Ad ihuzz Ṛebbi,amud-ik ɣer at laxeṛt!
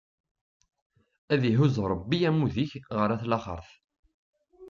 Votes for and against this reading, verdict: 2, 0, accepted